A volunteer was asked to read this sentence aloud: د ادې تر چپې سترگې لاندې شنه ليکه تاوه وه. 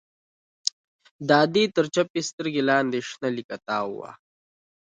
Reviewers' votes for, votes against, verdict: 2, 1, accepted